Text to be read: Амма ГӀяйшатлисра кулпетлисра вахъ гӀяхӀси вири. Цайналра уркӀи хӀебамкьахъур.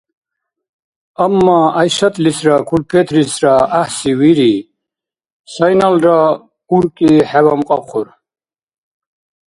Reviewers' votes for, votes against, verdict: 1, 2, rejected